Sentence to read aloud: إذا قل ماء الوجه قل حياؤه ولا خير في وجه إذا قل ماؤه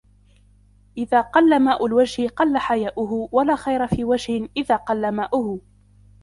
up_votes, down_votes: 2, 0